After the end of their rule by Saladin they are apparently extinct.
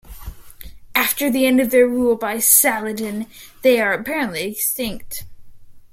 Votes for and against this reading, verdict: 3, 1, accepted